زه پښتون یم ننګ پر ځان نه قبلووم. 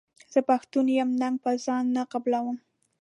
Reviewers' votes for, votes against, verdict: 2, 1, accepted